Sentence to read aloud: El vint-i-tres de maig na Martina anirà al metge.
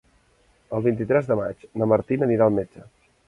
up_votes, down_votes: 0, 2